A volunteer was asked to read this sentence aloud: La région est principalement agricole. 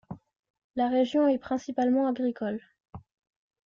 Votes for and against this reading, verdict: 2, 0, accepted